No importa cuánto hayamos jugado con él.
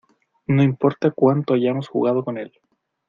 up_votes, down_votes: 2, 0